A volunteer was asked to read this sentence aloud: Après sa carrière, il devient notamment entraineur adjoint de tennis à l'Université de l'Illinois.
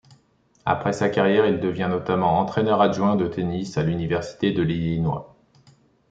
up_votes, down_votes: 2, 0